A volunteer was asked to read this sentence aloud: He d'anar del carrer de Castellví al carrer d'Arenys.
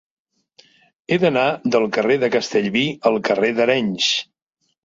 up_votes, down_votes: 3, 0